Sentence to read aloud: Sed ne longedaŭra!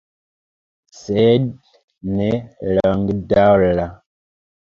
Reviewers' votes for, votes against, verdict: 0, 2, rejected